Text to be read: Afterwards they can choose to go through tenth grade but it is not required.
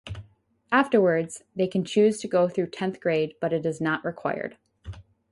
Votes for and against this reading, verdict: 4, 0, accepted